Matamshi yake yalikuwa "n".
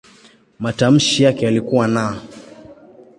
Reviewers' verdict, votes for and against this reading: accepted, 2, 0